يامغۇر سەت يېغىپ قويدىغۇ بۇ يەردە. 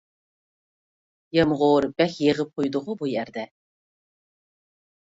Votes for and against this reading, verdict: 1, 2, rejected